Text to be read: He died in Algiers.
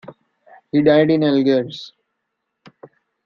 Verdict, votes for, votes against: rejected, 0, 2